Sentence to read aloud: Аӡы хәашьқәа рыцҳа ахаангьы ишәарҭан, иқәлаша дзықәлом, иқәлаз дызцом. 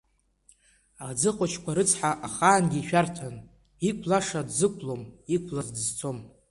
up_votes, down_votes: 2, 0